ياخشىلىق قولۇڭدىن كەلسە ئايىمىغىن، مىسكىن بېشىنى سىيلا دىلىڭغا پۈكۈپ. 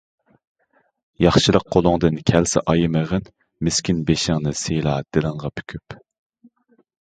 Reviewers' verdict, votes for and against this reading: rejected, 0, 2